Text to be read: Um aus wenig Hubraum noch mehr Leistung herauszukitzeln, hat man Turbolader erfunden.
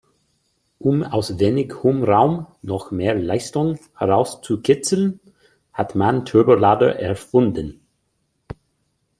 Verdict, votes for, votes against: rejected, 1, 2